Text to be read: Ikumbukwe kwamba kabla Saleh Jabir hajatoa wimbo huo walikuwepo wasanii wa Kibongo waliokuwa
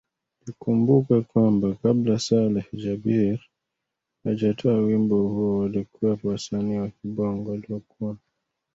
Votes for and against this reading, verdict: 1, 2, rejected